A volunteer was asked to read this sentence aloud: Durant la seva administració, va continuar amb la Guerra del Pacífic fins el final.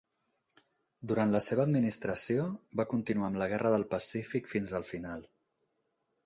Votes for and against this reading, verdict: 6, 0, accepted